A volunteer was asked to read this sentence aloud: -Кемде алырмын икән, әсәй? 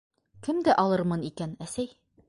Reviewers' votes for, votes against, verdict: 2, 0, accepted